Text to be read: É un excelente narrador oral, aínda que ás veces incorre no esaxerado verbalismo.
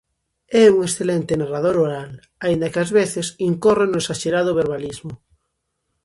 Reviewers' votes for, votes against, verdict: 2, 0, accepted